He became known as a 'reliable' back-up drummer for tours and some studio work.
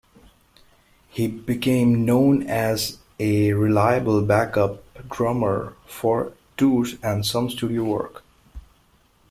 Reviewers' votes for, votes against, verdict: 1, 2, rejected